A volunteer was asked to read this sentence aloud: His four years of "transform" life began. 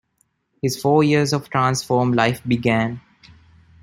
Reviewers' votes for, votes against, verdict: 2, 0, accepted